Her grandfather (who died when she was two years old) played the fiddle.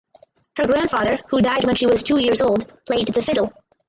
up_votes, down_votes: 0, 2